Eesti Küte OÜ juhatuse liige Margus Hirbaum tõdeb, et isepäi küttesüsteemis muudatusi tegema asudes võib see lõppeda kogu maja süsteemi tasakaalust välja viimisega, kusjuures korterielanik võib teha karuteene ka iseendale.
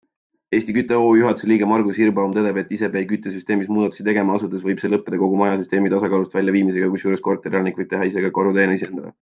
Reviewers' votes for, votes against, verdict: 0, 2, rejected